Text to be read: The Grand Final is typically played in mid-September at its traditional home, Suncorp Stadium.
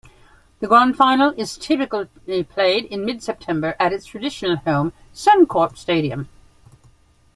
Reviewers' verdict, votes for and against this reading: rejected, 1, 2